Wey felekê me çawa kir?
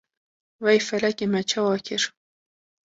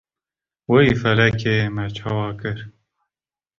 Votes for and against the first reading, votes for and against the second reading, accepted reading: 1, 2, 2, 0, second